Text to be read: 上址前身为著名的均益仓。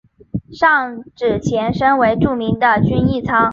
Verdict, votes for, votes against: accepted, 2, 0